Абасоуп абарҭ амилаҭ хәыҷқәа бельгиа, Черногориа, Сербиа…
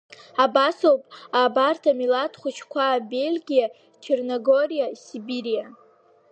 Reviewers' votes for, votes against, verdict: 0, 2, rejected